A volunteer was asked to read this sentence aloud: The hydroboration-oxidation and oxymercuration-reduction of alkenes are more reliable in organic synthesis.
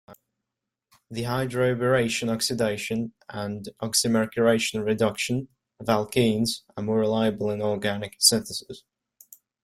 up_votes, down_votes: 2, 0